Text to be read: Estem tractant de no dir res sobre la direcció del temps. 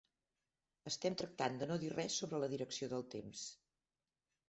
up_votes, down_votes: 2, 0